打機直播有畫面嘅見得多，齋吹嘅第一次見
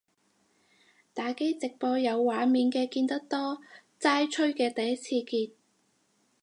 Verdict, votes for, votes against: accepted, 6, 0